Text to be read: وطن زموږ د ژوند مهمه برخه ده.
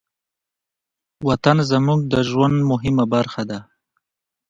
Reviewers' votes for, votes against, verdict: 2, 0, accepted